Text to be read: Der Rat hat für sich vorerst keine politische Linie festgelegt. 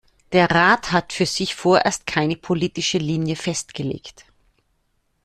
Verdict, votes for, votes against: accepted, 2, 1